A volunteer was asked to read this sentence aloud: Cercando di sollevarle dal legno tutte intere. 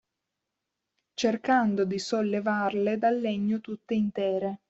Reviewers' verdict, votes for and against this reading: accepted, 2, 0